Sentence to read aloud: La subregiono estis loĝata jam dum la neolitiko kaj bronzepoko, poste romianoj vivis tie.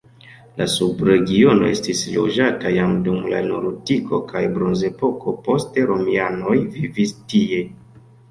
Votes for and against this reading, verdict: 0, 2, rejected